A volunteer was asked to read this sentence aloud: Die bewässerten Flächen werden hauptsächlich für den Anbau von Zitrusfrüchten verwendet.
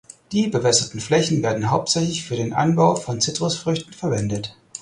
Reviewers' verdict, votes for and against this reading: accepted, 4, 0